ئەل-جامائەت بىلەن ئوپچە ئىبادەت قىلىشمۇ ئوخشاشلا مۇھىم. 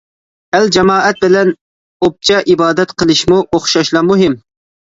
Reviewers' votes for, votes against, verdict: 2, 0, accepted